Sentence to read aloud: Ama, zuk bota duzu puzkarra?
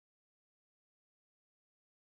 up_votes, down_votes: 0, 3